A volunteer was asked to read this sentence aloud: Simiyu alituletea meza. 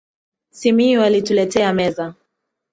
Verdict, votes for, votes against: accepted, 3, 0